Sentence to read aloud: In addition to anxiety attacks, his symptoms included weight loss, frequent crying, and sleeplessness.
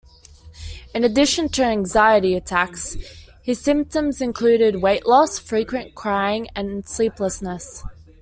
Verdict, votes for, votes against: accepted, 2, 0